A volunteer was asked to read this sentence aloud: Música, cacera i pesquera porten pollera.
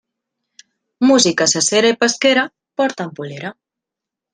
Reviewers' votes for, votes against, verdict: 0, 2, rejected